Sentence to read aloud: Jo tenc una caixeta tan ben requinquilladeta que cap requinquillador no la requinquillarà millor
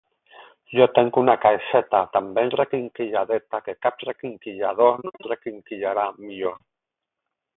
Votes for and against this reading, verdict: 4, 4, rejected